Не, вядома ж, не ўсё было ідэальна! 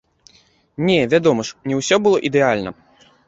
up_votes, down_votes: 1, 2